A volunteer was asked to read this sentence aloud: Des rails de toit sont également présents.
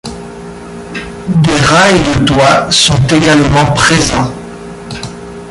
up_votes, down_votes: 0, 2